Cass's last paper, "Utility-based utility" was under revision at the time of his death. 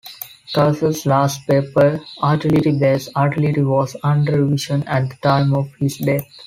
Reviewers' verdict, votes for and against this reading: rejected, 1, 2